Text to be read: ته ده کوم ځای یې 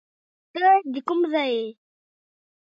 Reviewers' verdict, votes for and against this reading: rejected, 0, 2